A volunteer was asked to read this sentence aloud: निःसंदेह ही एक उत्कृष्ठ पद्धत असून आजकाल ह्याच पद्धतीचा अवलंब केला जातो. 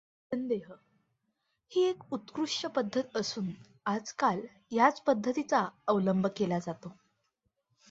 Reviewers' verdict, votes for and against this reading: accepted, 2, 1